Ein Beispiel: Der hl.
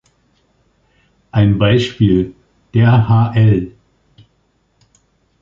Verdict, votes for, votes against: accepted, 2, 1